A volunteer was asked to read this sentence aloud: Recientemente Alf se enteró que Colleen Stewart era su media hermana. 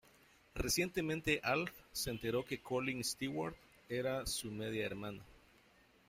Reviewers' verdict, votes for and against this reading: accepted, 2, 1